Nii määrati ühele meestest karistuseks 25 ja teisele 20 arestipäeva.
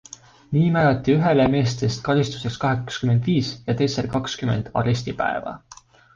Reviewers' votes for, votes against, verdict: 0, 2, rejected